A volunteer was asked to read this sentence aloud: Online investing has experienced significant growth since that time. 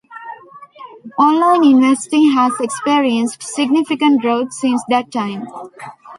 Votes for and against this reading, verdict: 1, 2, rejected